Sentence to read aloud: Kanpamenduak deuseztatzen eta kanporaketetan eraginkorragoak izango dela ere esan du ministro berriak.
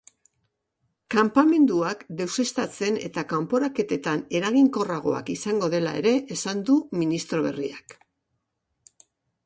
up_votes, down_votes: 2, 0